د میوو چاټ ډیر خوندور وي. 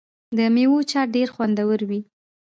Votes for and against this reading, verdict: 2, 0, accepted